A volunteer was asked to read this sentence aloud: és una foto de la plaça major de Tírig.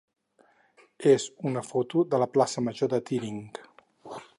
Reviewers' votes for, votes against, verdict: 0, 6, rejected